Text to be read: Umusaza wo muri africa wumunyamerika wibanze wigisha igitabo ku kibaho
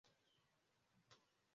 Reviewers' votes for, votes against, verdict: 0, 2, rejected